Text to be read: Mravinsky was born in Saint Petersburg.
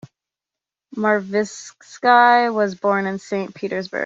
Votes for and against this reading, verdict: 1, 2, rejected